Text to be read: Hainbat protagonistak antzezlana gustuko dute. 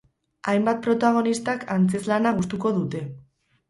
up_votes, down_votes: 0, 2